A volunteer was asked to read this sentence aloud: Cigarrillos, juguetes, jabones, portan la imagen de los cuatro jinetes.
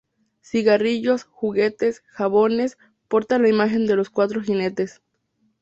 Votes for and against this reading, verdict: 4, 0, accepted